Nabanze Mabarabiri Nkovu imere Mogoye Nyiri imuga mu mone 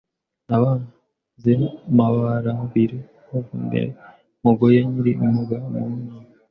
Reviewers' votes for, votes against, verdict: 0, 2, rejected